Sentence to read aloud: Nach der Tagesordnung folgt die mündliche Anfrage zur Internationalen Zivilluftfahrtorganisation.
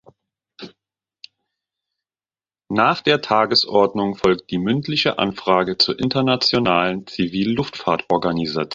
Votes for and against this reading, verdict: 1, 2, rejected